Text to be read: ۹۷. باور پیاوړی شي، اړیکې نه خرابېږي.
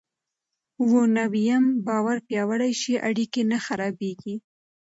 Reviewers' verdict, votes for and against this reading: rejected, 0, 2